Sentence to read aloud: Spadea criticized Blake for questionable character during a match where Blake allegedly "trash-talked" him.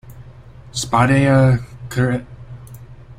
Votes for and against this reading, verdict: 0, 2, rejected